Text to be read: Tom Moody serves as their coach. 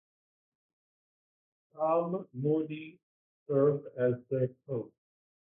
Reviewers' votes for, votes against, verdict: 0, 2, rejected